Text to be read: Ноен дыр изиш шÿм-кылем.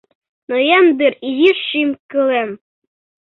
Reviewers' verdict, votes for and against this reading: accepted, 2, 0